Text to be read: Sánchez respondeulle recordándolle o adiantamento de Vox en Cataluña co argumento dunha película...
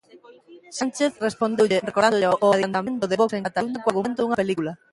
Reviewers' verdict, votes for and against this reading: rejected, 0, 2